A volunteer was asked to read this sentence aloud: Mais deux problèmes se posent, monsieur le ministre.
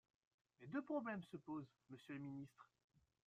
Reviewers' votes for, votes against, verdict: 1, 2, rejected